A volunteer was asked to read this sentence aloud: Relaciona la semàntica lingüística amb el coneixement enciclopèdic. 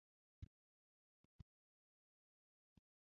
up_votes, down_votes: 1, 2